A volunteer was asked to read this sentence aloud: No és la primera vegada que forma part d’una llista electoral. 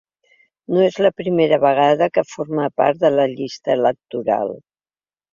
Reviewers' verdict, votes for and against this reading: rejected, 0, 3